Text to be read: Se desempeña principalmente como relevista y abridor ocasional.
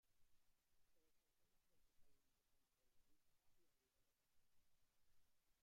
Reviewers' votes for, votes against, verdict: 0, 2, rejected